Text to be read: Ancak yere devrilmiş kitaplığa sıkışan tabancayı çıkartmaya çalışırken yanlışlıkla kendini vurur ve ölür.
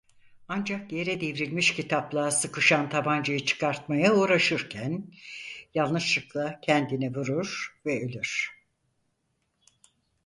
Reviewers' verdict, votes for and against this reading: rejected, 0, 4